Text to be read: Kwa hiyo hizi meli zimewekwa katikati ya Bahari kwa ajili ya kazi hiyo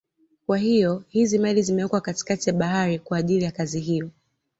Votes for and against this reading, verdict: 2, 0, accepted